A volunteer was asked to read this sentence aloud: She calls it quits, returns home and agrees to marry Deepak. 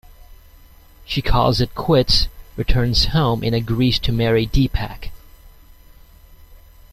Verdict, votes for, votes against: accepted, 2, 0